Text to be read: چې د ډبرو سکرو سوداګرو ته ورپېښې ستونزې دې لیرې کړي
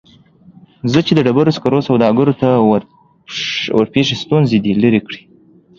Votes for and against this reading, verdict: 2, 0, accepted